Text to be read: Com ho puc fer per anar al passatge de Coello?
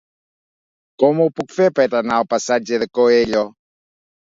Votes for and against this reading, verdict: 2, 0, accepted